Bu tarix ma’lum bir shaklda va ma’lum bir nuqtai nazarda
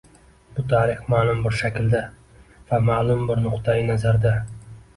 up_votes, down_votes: 2, 0